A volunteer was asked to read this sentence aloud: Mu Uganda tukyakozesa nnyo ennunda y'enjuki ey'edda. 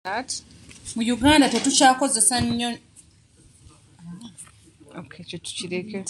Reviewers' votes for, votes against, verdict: 0, 2, rejected